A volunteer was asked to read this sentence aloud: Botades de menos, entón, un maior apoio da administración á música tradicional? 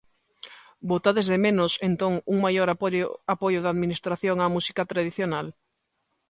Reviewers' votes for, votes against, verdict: 0, 2, rejected